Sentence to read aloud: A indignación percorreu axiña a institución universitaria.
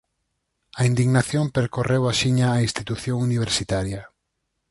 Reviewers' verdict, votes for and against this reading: accepted, 4, 0